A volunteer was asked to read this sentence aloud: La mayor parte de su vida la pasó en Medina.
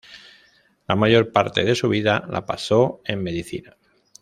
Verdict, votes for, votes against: rejected, 1, 3